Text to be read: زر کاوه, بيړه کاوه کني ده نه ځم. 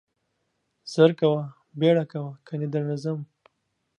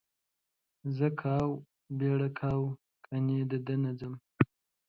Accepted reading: second